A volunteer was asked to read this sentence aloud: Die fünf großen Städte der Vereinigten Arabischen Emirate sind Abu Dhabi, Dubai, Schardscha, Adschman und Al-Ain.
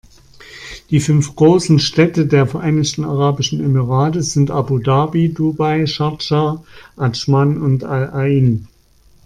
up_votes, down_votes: 2, 0